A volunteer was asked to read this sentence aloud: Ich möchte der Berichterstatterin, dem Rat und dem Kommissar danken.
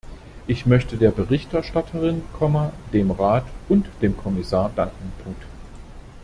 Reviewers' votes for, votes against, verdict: 0, 2, rejected